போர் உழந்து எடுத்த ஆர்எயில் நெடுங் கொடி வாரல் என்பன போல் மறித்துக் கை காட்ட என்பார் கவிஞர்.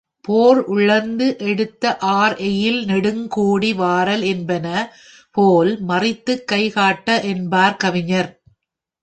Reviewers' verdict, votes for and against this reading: rejected, 1, 2